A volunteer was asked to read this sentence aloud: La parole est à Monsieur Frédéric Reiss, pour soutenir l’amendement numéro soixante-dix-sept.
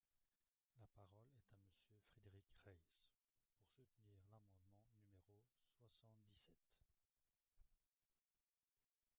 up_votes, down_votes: 0, 2